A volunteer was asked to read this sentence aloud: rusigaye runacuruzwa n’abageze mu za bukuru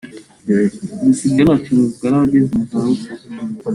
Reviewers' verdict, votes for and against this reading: rejected, 0, 2